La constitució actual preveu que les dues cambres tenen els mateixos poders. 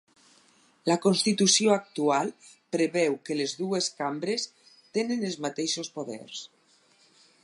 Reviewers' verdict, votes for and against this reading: accepted, 6, 0